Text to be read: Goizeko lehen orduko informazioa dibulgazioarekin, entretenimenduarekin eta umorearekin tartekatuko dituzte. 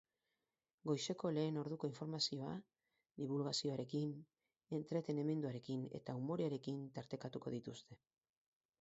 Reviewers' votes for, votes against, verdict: 2, 4, rejected